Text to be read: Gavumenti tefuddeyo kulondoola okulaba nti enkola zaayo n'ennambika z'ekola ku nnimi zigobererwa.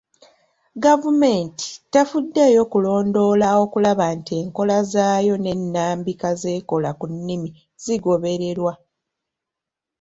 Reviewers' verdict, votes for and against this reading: accepted, 2, 0